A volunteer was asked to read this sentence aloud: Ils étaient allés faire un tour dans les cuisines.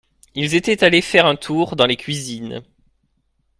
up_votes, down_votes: 2, 0